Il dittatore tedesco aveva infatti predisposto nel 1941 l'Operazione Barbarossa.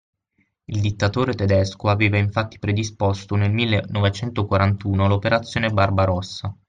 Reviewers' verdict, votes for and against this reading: rejected, 0, 2